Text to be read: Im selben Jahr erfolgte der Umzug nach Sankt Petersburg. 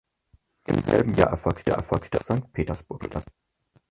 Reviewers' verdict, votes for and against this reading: rejected, 0, 4